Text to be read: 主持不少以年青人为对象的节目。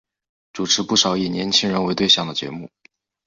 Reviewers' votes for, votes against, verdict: 4, 0, accepted